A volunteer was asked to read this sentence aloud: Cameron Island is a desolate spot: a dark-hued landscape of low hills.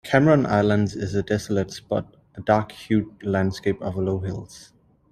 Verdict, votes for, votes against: accepted, 2, 0